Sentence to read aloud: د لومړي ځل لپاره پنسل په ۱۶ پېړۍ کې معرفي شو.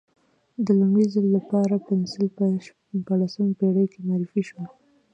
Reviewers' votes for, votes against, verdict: 0, 2, rejected